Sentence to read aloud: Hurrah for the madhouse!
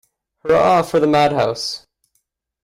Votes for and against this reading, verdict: 0, 2, rejected